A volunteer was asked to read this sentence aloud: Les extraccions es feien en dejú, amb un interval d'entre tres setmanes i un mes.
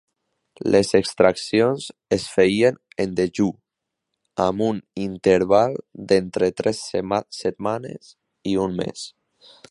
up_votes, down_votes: 0, 2